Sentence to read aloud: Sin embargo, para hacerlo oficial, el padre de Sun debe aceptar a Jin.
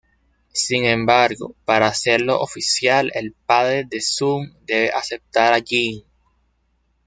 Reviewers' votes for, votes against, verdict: 1, 2, rejected